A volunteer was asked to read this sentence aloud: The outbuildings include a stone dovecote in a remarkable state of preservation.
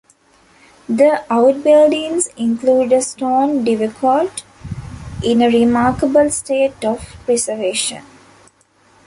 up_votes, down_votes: 2, 1